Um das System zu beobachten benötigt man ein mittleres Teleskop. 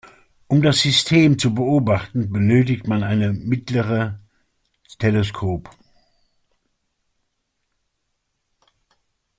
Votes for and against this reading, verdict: 0, 2, rejected